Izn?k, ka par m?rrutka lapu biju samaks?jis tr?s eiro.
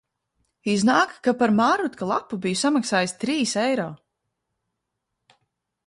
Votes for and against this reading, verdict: 0, 2, rejected